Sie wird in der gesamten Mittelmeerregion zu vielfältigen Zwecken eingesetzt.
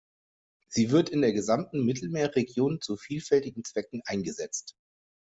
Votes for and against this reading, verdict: 2, 0, accepted